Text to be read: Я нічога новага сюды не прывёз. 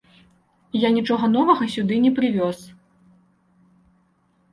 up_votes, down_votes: 2, 0